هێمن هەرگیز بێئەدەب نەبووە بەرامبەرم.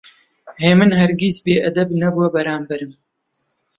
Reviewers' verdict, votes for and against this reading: accepted, 2, 1